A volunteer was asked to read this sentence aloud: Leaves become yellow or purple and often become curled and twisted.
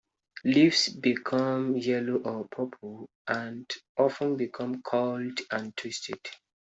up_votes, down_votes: 2, 0